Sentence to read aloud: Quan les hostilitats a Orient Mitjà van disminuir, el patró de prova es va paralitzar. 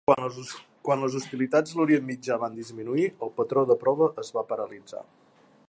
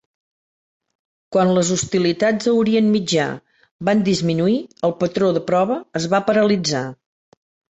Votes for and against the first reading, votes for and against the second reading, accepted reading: 0, 2, 2, 1, second